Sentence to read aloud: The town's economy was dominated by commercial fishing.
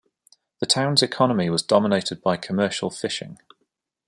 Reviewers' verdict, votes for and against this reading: accepted, 2, 0